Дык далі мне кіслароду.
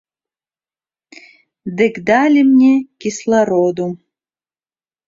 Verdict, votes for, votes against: rejected, 1, 2